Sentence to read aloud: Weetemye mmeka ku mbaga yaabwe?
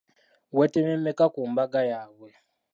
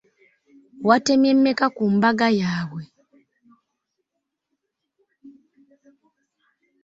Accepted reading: first